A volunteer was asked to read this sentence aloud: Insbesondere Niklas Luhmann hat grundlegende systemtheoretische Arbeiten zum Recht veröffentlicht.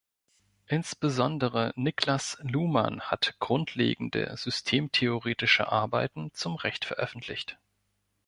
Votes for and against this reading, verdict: 2, 0, accepted